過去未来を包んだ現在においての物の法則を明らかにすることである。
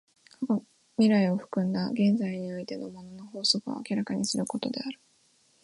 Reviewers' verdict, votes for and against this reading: rejected, 2, 2